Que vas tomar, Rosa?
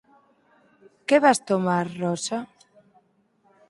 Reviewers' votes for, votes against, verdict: 4, 0, accepted